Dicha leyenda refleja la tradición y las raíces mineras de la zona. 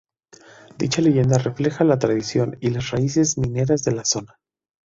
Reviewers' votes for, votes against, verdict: 2, 0, accepted